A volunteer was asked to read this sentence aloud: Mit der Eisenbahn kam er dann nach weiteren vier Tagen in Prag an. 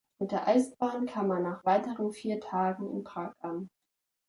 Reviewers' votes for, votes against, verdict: 0, 2, rejected